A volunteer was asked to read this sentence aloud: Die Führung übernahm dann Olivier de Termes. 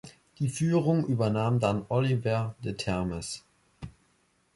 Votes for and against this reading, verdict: 0, 2, rejected